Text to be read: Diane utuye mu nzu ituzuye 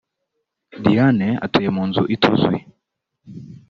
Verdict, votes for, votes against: accepted, 2, 1